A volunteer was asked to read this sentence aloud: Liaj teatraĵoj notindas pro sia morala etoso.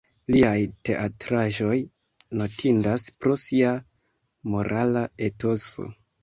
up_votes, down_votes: 1, 2